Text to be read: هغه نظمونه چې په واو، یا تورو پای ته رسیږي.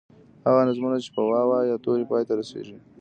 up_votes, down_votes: 2, 0